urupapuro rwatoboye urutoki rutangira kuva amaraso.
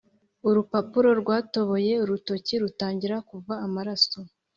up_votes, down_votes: 3, 0